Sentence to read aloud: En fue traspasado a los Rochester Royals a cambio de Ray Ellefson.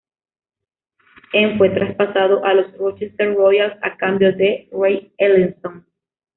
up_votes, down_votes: 2, 1